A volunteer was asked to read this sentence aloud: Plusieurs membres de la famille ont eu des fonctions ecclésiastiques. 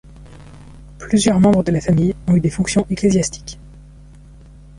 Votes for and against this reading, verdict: 1, 2, rejected